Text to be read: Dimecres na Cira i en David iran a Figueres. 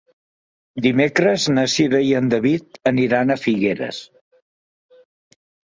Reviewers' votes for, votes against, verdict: 1, 2, rejected